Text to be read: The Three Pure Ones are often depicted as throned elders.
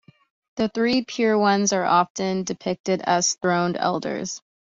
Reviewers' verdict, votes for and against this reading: accepted, 3, 0